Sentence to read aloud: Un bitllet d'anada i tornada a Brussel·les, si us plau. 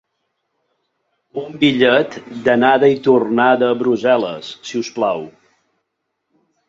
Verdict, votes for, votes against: accepted, 3, 0